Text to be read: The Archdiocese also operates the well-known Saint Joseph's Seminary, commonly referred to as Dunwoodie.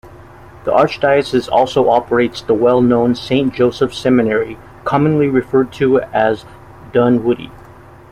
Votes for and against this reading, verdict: 2, 0, accepted